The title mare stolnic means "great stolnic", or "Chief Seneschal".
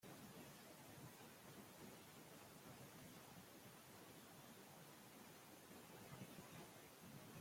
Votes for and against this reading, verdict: 0, 2, rejected